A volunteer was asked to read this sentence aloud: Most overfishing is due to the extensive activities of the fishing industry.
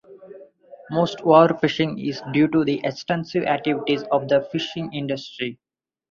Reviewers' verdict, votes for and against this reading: rejected, 2, 2